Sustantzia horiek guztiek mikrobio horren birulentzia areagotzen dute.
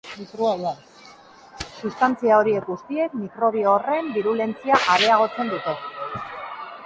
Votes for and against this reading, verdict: 1, 2, rejected